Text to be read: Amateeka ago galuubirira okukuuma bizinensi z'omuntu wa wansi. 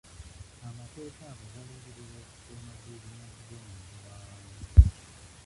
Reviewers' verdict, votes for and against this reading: rejected, 0, 2